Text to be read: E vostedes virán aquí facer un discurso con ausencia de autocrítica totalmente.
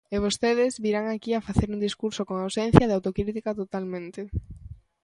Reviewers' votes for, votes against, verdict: 1, 2, rejected